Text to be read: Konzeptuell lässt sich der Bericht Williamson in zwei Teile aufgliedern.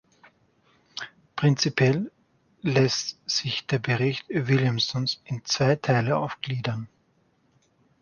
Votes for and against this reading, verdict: 0, 4, rejected